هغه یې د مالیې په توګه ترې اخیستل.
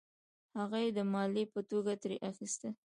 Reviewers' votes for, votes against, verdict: 2, 1, accepted